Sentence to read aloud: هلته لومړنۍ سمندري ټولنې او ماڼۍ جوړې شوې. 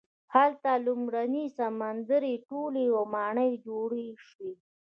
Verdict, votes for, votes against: rejected, 1, 2